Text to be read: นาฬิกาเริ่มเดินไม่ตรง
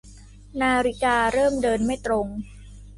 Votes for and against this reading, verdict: 2, 0, accepted